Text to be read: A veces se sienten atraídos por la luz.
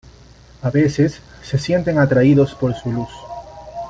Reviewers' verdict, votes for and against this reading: rejected, 0, 2